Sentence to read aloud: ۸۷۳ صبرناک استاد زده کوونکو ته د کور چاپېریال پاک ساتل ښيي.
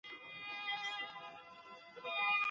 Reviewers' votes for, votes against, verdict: 0, 2, rejected